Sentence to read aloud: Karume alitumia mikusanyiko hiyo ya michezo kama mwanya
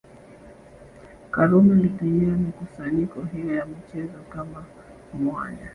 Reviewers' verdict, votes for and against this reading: accepted, 2, 0